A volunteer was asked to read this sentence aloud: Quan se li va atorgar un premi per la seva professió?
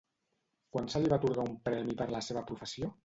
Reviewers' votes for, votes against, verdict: 2, 0, accepted